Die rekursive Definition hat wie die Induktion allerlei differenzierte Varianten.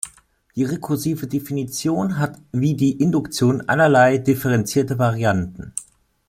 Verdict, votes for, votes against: accepted, 2, 0